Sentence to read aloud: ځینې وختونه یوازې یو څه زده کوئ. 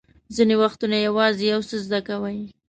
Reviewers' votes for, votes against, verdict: 2, 0, accepted